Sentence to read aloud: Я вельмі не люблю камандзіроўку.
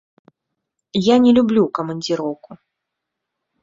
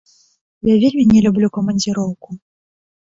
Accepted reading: second